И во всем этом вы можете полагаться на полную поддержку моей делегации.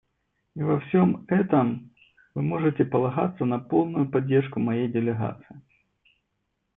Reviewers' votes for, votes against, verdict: 1, 2, rejected